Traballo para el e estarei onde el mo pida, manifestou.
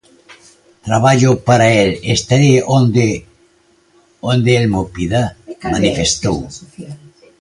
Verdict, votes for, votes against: rejected, 0, 2